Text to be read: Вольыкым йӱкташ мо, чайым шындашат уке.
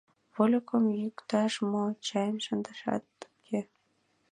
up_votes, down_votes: 1, 5